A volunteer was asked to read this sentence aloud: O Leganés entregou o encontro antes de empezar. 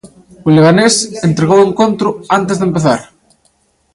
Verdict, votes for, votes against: accepted, 2, 1